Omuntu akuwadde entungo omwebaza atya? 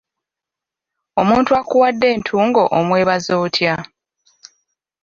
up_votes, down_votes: 1, 2